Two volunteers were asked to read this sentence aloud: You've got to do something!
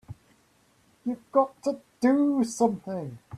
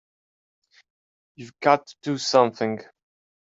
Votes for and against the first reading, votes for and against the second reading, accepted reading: 1, 2, 3, 1, second